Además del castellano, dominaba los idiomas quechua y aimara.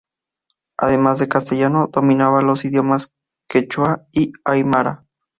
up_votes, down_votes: 2, 0